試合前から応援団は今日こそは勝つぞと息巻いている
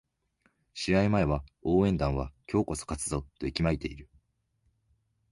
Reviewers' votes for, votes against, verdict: 1, 2, rejected